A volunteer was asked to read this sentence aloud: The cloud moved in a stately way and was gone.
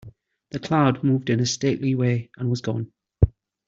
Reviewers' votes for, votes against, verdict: 2, 0, accepted